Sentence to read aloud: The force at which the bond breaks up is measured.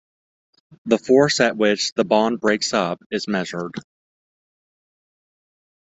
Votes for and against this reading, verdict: 2, 0, accepted